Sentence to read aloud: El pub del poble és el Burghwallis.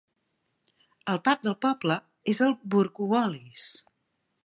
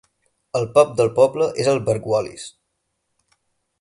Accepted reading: second